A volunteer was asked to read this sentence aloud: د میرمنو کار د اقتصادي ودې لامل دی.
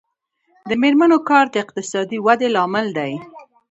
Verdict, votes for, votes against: accepted, 2, 0